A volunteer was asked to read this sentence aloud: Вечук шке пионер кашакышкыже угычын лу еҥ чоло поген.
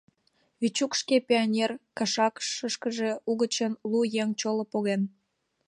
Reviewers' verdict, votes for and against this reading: rejected, 0, 2